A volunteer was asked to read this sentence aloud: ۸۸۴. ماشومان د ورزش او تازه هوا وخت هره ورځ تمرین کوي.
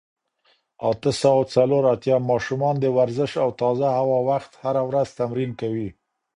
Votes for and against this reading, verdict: 0, 2, rejected